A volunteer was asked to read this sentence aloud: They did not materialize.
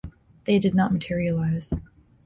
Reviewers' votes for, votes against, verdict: 3, 0, accepted